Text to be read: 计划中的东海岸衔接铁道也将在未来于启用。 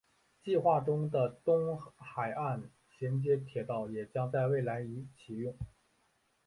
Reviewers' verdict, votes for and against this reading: accepted, 2, 0